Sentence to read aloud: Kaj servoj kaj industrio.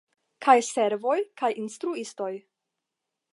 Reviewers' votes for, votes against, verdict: 0, 10, rejected